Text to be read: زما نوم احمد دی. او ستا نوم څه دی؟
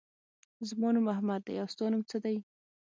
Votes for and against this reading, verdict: 3, 6, rejected